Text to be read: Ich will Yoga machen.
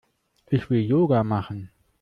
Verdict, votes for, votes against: accepted, 2, 1